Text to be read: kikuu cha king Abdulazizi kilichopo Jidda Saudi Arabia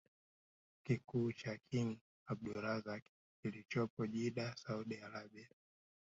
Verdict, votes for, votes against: rejected, 1, 2